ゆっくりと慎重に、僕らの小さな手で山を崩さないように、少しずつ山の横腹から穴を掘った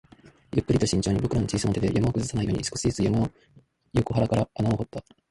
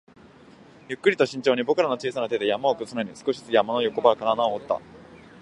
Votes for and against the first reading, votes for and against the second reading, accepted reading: 1, 2, 2, 0, second